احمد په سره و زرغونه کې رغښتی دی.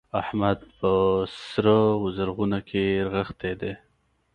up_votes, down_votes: 2, 1